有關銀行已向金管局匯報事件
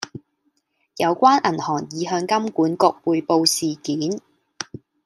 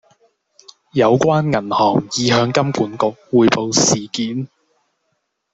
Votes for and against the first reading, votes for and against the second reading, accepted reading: 0, 2, 2, 0, second